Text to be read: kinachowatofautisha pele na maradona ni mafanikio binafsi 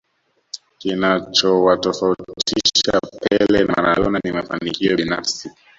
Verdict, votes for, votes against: rejected, 1, 2